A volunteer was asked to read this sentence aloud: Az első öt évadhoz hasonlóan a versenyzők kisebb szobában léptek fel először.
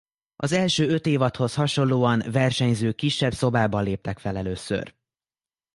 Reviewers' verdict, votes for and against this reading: rejected, 1, 2